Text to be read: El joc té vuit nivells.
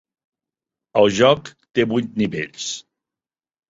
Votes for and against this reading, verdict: 3, 0, accepted